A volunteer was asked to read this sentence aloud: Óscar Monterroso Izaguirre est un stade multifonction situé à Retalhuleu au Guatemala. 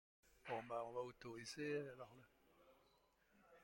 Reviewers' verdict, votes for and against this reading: rejected, 0, 2